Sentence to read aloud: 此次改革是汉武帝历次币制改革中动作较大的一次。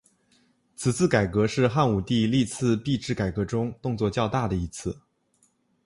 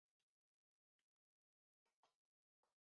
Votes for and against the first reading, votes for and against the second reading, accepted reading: 2, 0, 0, 3, first